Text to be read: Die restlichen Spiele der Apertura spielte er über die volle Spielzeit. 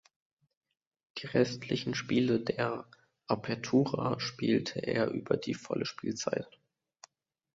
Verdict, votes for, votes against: accepted, 2, 0